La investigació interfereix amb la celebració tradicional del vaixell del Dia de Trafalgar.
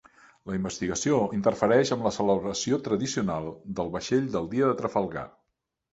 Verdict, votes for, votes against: accepted, 2, 0